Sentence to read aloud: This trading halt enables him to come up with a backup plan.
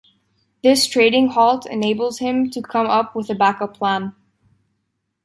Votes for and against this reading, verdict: 2, 0, accepted